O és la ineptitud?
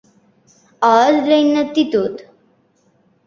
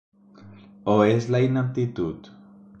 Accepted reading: second